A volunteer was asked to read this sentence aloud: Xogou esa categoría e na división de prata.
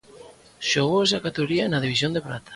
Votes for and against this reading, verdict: 2, 0, accepted